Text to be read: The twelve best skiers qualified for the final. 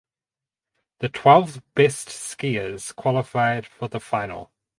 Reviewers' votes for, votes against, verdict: 4, 0, accepted